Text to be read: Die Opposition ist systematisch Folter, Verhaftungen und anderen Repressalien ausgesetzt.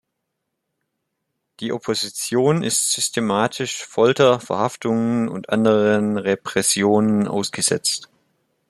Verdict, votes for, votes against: rejected, 0, 2